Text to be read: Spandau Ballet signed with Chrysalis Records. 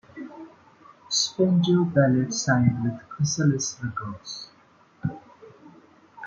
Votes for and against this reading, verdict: 2, 0, accepted